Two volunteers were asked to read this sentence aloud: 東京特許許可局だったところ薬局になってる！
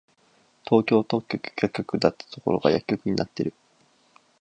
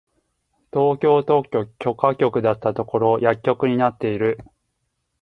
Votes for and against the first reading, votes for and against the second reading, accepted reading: 0, 8, 2, 0, second